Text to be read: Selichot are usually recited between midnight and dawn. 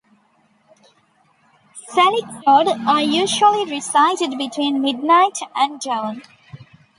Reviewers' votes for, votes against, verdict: 0, 2, rejected